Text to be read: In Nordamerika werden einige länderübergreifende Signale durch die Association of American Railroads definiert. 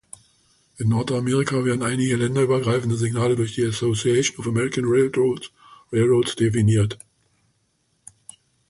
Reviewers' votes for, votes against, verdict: 0, 2, rejected